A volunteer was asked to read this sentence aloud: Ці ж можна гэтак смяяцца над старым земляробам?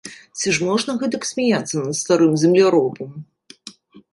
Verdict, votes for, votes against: accepted, 2, 0